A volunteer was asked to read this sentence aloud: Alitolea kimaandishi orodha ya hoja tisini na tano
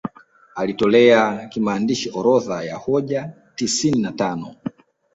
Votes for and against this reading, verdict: 0, 2, rejected